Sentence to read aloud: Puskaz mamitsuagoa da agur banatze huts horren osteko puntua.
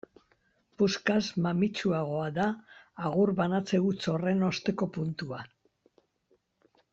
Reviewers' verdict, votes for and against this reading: accepted, 2, 0